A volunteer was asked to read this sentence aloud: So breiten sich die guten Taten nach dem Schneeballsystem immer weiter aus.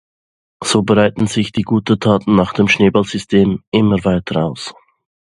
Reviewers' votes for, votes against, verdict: 2, 0, accepted